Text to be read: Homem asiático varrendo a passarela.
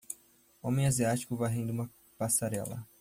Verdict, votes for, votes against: rejected, 0, 2